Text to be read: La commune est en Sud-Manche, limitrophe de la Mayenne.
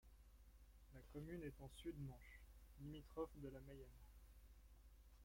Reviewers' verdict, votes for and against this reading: rejected, 0, 2